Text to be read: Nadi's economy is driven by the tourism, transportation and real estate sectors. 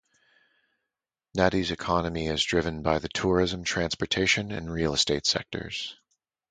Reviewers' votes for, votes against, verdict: 2, 0, accepted